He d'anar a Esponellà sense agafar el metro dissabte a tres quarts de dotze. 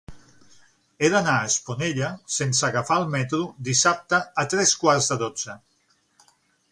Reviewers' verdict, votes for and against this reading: rejected, 3, 6